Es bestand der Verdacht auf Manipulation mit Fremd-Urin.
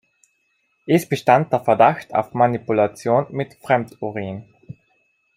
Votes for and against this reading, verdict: 2, 0, accepted